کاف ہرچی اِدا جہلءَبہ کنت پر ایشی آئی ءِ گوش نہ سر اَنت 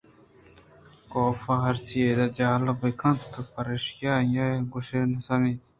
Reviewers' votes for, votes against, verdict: 2, 0, accepted